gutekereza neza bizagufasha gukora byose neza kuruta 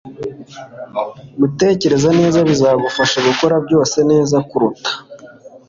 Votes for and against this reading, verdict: 2, 0, accepted